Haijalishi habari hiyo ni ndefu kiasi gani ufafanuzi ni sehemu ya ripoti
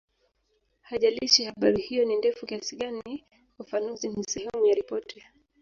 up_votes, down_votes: 0, 2